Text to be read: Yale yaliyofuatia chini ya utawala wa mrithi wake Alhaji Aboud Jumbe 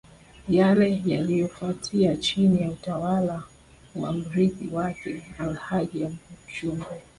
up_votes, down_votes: 2, 0